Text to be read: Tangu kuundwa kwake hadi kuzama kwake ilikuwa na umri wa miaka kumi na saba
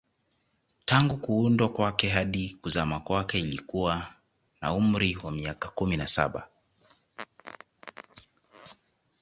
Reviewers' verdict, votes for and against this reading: accepted, 2, 0